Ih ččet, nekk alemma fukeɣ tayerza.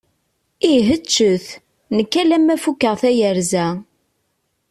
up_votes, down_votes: 2, 0